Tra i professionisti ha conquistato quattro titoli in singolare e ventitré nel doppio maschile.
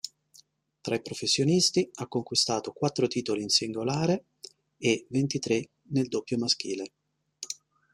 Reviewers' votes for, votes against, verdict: 2, 0, accepted